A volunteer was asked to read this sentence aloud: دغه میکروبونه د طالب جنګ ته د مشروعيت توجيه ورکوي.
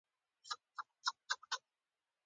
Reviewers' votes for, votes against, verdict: 1, 2, rejected